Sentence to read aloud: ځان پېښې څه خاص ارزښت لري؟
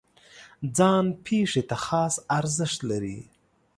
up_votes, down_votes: 0, 2